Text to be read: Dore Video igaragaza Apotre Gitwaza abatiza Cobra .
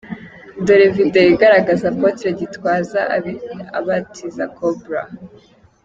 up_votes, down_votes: 0, 2